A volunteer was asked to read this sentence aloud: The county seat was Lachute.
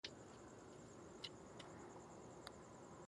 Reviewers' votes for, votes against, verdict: 0, 2, rejected